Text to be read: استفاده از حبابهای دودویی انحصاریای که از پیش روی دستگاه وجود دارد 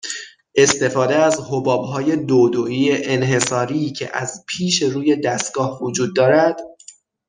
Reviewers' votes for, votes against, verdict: 3, 3, rejected